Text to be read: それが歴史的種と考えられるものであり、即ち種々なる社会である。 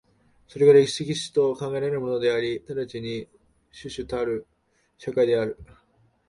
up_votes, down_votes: 0, 3